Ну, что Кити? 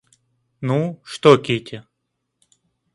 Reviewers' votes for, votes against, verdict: 2, 0, accepted